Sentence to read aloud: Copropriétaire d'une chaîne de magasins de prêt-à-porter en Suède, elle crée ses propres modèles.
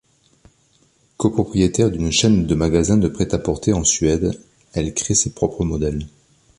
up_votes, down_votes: 3, 0